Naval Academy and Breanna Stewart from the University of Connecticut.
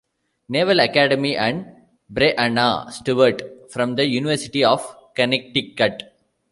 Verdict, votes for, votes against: rejected, 1, 2